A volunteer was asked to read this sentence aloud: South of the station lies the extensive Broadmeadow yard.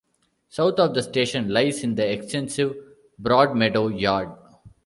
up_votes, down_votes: 1, 2